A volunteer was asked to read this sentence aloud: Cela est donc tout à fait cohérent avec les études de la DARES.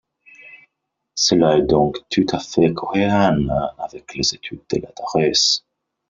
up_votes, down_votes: 0, 2